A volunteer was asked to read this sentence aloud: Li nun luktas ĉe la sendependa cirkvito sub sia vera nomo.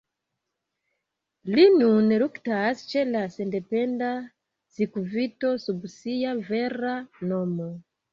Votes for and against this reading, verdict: 1, 2, rejected